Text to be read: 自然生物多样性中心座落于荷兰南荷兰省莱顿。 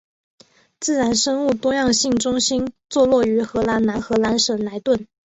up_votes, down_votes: 3, 0